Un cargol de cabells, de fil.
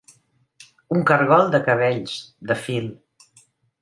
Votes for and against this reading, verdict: 3, 0, accepted